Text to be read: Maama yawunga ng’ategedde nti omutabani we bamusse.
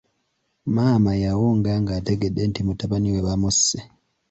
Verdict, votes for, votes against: rejected, 1, 2